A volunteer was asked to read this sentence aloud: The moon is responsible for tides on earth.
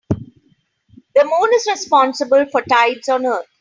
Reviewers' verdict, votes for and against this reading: accepted, 2, 0